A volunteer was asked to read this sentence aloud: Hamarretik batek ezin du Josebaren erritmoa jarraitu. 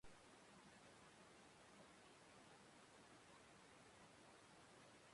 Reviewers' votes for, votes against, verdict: 0, 2, rejected